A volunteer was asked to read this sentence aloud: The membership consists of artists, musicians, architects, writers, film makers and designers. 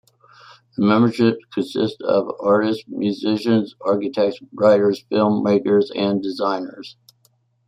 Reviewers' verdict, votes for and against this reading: accepted, 2, 0